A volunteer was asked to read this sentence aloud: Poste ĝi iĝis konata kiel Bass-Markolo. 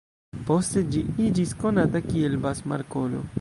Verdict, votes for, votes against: rejected, 0, 2